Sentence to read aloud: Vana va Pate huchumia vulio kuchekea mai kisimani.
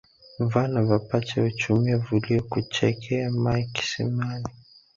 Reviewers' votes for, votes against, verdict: 1, 2, rejected